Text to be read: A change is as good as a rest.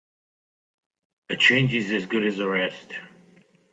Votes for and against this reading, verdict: 2, 0, accepted